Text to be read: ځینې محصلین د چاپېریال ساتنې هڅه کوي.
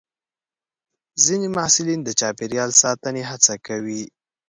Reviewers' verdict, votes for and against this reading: accepted, 2, 0